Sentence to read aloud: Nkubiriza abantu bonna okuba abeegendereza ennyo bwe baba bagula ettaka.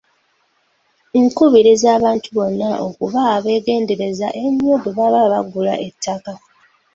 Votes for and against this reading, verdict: 2, 0, accepted